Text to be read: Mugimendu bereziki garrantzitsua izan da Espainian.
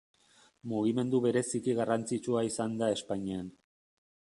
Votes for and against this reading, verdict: 1, 2, rejected